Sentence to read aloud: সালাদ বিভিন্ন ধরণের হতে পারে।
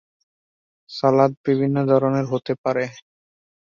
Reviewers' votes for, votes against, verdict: 0, 2, rejected